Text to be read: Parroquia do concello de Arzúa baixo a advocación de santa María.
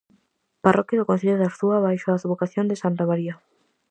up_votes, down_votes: 4, 0